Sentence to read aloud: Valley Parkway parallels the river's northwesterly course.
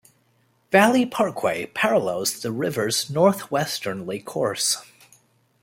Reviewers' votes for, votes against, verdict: 1, 2, rejected